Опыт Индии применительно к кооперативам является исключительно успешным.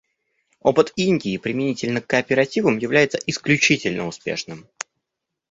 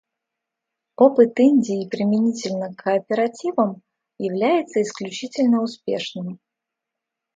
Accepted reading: first